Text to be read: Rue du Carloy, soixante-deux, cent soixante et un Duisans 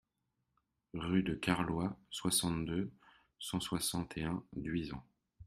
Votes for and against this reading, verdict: 1, 2, rejected